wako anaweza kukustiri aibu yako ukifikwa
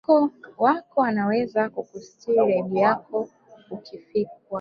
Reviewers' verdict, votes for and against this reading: rejected, 1, 2